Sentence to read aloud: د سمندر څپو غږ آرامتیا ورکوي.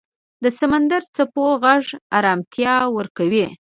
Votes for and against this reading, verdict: 1, 2, rejected